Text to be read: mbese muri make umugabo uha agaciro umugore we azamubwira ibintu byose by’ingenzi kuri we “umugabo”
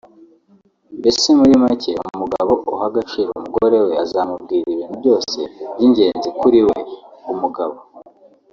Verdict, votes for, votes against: accepted, 2, 1